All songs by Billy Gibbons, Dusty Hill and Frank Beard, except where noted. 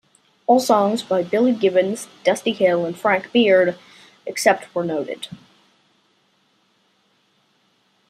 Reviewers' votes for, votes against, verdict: 2, 0, accepted